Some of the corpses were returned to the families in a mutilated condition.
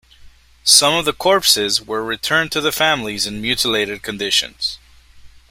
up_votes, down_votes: 2, 1